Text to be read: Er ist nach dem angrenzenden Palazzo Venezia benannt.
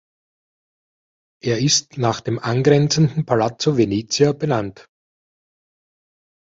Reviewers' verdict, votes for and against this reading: accepted, 2, 0